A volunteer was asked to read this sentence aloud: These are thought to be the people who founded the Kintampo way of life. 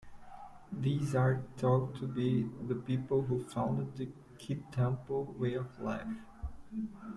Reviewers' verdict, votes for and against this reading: accepted, 2, 1